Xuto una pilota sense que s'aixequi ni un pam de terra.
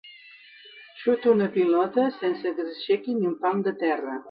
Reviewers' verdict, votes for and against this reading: accepted, 2, 0